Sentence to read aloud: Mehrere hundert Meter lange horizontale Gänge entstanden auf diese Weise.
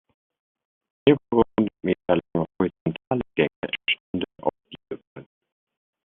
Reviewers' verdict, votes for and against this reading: rejected, 0, 2